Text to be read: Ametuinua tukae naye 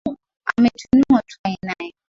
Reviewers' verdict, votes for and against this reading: rejected, 1, 2